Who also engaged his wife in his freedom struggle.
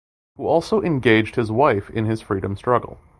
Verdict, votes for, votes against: accepted, 2, 0